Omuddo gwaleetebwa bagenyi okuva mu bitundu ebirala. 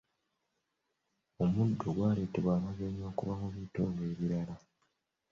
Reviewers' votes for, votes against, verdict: 2, 1, accepted